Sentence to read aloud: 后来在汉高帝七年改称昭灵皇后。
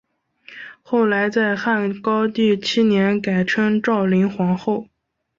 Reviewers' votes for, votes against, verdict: 2, 0, accepted